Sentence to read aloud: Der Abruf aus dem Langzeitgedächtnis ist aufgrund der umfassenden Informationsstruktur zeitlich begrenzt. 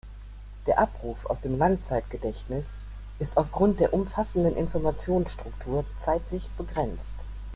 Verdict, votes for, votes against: rejected, 1, 2